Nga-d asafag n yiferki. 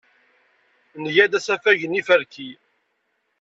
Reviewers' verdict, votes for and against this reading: accepted, 2, 0